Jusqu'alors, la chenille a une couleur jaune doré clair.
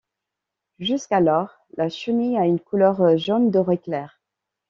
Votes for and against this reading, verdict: 2, 0, accepted